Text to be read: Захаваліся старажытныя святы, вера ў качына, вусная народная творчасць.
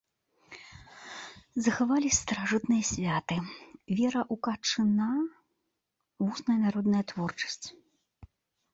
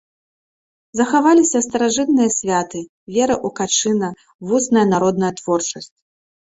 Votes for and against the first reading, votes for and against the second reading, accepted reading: 0, 2, 2, 0, second